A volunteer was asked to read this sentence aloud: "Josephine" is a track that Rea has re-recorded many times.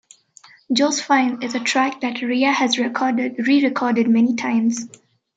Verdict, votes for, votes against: accepted, 2, 0